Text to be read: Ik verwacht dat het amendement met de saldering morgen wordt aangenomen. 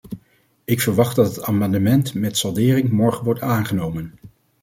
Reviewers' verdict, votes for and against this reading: rejected, 0, 2